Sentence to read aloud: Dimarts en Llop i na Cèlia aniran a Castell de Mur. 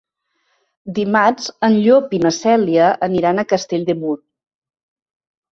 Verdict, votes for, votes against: accepted, 2, 0